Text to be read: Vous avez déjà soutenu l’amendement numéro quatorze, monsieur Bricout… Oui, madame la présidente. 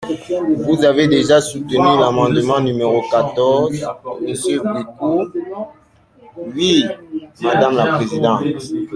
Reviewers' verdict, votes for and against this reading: accepted, 2, 1